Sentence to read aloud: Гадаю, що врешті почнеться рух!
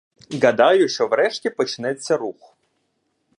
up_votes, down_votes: 0, 2